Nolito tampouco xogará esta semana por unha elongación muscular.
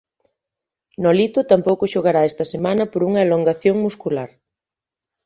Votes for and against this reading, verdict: 2, 0, accepted